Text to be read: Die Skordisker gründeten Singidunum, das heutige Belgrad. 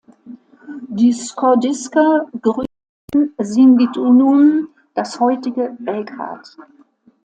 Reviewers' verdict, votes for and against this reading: rejected, 0, 2